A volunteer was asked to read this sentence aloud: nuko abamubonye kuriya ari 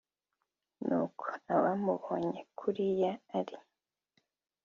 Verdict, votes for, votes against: accepted, 2, 0